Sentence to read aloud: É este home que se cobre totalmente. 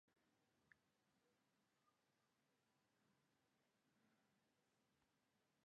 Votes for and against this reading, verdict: 0, 2, rejected